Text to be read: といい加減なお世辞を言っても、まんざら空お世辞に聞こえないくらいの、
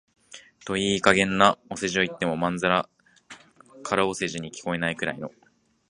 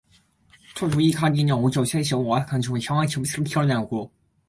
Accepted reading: first